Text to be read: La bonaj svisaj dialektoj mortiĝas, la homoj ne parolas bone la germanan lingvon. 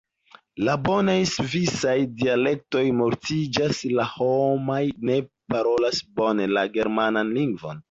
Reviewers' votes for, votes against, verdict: 2, 1, accepted